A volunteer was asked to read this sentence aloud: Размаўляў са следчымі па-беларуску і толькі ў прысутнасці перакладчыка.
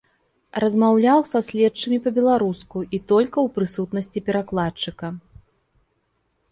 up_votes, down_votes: 1, 2